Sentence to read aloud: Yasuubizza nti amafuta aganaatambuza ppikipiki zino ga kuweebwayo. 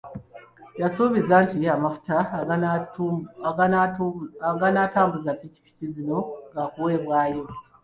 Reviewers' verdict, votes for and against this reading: rejected, 1, 2